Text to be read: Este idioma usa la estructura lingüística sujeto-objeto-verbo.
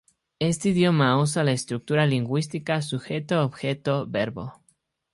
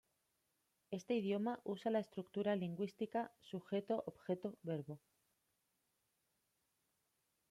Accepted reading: first